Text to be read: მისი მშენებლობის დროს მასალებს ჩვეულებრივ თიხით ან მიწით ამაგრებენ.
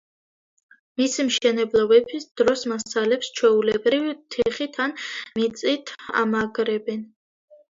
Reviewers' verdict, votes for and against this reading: rejected, 1, 2